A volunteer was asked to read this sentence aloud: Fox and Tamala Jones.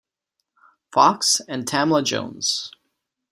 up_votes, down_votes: 2, 0